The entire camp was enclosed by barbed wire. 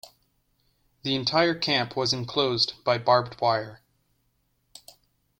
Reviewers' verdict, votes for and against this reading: accepted, 2, 1